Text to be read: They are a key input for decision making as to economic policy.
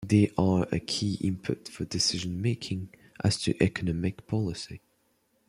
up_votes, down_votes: 2, 1